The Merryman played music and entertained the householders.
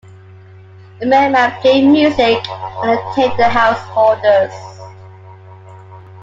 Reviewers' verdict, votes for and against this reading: rejected, 0, 2